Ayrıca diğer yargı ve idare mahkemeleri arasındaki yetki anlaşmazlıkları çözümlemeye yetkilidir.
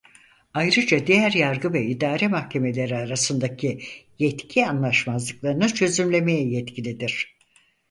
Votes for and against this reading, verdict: 2, 4, rejected